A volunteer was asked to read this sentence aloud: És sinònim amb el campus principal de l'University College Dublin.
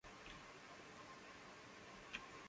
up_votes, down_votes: 0, 2